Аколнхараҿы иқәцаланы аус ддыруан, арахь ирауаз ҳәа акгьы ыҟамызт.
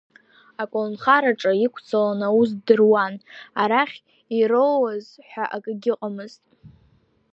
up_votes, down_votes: 2, 0